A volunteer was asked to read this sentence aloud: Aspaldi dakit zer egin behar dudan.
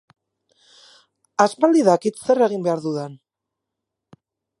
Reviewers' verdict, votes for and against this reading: accepted, 4, 0